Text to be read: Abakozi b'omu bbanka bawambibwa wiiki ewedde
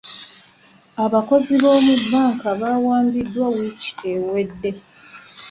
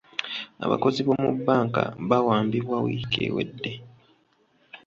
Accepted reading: second